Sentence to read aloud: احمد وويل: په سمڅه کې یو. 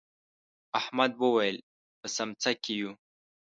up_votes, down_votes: 1, 2